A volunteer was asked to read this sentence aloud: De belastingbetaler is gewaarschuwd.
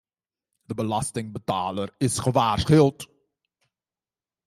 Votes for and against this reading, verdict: 1, 2, rejected